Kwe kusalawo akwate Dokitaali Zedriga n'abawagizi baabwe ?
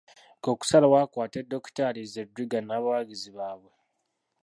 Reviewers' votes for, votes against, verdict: 1, 2, rejected